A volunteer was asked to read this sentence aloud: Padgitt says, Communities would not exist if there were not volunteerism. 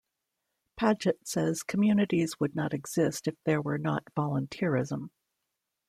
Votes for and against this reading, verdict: 2, 0, accepted